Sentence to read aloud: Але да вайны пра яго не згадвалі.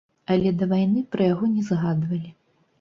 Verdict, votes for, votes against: rejected, 0, 2